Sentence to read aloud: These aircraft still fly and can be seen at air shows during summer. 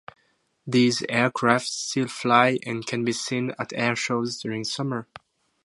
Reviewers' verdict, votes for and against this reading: accepted, 2, 0